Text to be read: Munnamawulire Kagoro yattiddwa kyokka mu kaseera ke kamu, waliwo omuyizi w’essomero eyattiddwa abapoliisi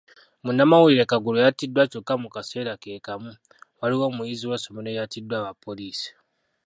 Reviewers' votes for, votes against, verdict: 0, 2, rejected